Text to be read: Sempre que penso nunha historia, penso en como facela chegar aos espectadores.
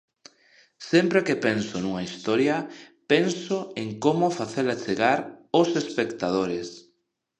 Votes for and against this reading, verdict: 2, 0, accepted